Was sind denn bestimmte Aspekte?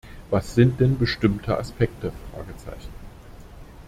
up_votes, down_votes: 0, 2